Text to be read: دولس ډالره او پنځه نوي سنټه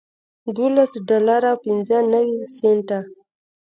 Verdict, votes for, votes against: rejected, 1, 2